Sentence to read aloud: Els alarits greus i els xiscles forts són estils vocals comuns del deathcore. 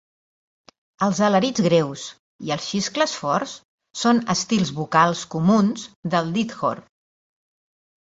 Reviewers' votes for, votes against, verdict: 1, 2, rejected